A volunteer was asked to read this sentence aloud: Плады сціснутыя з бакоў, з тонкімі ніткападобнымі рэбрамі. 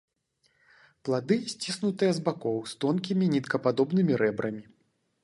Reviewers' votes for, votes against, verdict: 2, 0, accepted